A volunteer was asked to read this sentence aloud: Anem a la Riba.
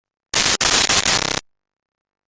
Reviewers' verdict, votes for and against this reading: rejected, 0, 2